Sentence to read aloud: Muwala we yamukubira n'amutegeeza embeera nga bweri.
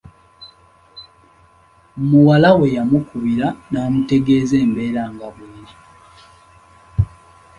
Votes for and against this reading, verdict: 2, 0, accepted